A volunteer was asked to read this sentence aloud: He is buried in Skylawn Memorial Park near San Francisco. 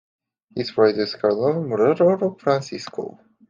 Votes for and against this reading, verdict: 0, 2, rejected